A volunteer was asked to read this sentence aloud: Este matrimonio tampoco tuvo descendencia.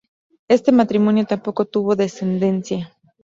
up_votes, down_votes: 2, 0